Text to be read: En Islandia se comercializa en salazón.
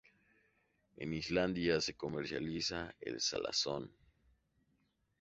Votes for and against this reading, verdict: 2, 0, accepted